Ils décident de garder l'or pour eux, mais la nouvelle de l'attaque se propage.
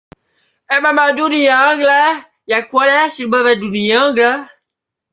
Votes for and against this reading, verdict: 0, 3, rejected